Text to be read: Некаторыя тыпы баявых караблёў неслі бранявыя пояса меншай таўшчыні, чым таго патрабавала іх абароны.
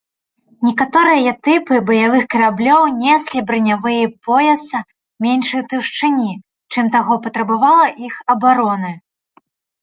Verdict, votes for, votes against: accepted, 2, 0